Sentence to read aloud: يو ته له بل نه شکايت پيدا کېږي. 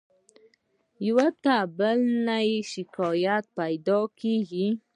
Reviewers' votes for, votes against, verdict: 0, 2, rejected